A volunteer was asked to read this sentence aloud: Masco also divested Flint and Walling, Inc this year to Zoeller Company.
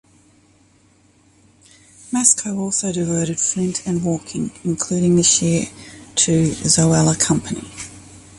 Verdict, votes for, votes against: rejected, 0, 2